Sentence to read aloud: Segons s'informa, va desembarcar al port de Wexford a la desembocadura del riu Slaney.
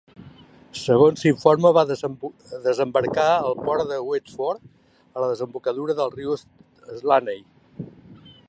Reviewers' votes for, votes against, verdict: 0, 2, rejected